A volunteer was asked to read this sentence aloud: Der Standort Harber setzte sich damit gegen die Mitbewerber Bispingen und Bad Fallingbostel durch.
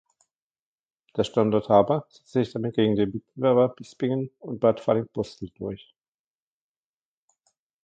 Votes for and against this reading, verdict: 0, 2, rejected